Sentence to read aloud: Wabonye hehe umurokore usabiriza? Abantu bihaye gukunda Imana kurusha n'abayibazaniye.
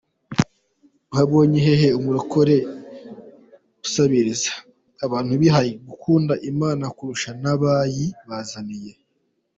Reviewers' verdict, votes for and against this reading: accepted, 2, 1